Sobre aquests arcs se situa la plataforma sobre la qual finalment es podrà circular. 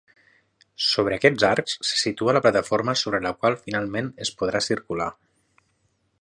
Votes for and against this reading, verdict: 6, 0, accepted